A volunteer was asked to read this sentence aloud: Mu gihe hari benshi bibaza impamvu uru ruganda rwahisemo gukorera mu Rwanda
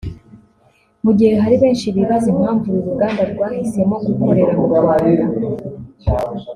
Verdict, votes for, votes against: accepted, 2, 0